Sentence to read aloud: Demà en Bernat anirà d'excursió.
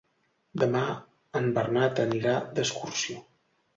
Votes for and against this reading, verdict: 2, 0, accepted